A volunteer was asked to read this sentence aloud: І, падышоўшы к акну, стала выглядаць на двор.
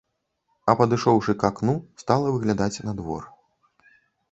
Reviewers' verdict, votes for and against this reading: rejected, 1, 2